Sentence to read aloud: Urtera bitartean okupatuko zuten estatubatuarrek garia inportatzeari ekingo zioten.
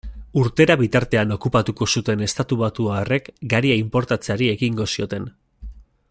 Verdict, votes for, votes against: accepted, 2, 0